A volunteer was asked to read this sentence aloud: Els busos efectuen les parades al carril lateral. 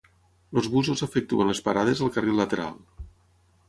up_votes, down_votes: 3, 6